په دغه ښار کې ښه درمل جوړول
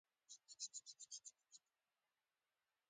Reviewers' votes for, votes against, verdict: 0, 2, rejected